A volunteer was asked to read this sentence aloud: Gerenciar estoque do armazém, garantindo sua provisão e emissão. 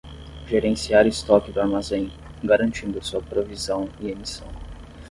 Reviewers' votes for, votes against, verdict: 10, 0, accepted